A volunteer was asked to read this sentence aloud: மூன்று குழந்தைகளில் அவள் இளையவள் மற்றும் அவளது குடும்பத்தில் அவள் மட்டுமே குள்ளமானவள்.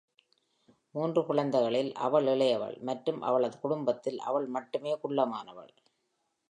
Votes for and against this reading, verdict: 2, 0, accepted